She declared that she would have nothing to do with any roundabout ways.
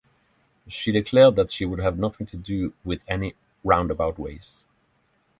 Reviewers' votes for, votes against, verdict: 3, 0, accepted